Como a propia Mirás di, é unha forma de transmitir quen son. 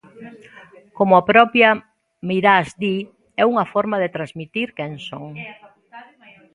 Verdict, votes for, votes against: rejected, 0, 2